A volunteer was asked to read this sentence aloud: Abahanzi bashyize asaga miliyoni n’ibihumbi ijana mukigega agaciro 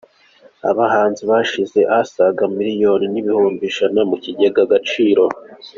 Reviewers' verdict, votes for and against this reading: accepted, 2, 0